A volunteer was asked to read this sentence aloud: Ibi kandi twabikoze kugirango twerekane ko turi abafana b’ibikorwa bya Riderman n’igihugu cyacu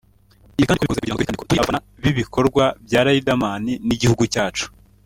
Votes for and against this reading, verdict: 0, 2, rejected